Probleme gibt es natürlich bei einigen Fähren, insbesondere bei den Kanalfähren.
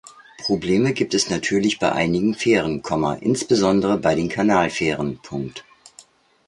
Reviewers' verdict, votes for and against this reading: rejected, 0, 2